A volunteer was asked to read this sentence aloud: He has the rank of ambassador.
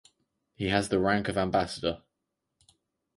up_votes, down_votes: 4, 0